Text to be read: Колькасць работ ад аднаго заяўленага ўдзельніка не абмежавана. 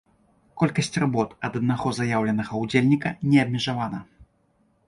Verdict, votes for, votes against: accepted, 2, 0